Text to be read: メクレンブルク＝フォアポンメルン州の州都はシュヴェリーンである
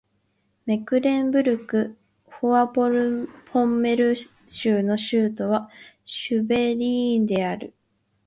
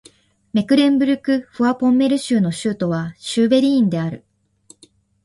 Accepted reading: second